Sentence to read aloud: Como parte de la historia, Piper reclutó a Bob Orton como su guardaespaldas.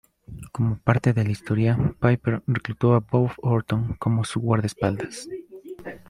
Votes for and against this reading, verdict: 2, 0, accepted